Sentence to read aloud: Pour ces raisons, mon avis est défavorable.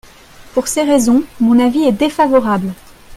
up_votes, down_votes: 2, 0